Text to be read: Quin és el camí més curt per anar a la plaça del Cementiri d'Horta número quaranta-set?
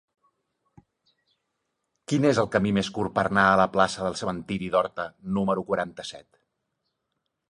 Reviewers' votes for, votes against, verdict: 2, 0, accepted